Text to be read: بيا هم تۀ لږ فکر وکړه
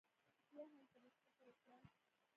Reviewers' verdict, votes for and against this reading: rejected, 0, 2